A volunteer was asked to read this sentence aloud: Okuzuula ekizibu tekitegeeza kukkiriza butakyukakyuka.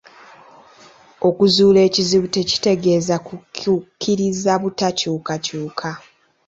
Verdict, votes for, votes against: rejected, 1, 2